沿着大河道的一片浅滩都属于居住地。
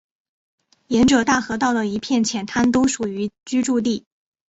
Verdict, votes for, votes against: accepted, 2, 1